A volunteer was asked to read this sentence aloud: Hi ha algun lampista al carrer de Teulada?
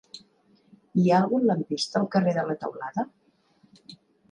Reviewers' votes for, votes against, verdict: 0, 2, rejected